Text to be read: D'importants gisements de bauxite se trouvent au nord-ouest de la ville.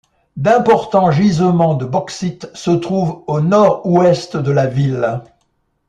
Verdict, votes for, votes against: accepted, 2, 0